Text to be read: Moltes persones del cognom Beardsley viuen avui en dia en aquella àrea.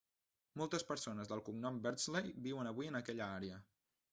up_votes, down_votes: 1, 2